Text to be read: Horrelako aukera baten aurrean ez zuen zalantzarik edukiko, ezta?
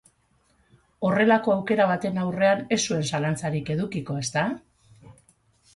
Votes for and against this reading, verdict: 2, 2, rejected